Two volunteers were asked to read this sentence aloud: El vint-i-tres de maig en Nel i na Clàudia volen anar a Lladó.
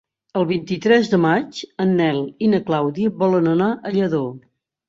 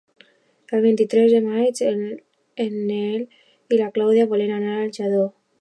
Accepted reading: first